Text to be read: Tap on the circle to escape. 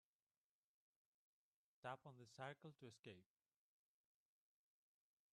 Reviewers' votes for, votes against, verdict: 0, 2, rejected